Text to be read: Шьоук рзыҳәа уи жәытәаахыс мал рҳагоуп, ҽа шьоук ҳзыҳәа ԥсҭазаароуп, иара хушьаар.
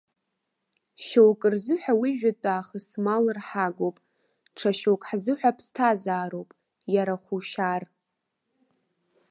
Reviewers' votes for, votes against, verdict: 2, 1, accepted